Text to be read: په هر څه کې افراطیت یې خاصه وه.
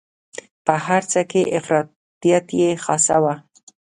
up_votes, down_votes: 2, 0